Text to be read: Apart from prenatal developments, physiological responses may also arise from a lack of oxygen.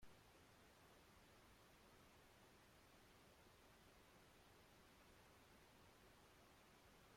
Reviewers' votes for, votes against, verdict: 0, 2, rejected